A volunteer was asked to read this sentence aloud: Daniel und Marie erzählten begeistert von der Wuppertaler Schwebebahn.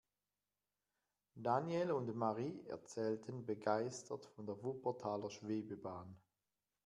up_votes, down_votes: 1, 2